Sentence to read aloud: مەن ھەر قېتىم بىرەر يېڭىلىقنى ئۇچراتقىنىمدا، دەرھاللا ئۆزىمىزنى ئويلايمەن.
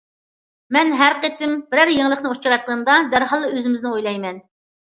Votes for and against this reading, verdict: 2, 0, accepted